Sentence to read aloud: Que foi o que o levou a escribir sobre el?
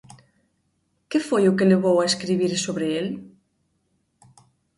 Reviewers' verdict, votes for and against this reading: rejected, 2, 3